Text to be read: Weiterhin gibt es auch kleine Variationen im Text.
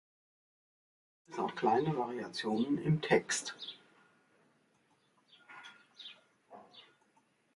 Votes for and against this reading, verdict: 0, 2, rejected